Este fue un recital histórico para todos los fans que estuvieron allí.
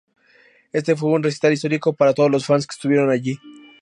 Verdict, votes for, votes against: accepted, 2, 0